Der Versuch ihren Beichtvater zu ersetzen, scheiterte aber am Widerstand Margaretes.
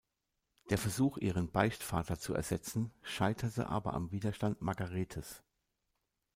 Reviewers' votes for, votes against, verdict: 2, 0, accepted